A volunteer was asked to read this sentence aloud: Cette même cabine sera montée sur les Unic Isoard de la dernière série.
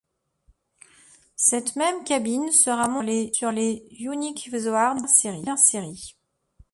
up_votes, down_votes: 0, 2